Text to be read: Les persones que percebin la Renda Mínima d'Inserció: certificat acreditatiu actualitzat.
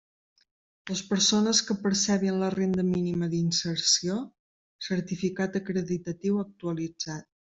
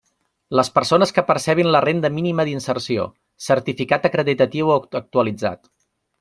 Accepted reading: first